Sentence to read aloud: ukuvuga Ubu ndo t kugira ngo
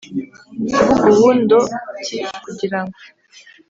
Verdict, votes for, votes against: accepted, 2, 0